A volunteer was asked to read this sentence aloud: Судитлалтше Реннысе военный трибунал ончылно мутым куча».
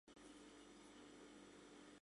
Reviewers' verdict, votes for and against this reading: rejected, 1, 2